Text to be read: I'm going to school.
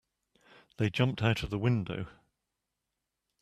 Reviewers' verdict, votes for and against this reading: rejected, 0, 2